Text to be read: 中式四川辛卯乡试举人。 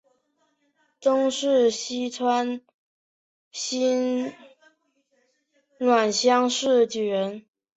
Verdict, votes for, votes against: rejected, 0, 2